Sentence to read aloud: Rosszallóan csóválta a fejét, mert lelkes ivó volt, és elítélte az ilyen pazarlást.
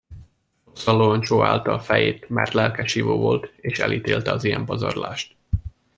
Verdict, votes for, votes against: rejected, 0, 2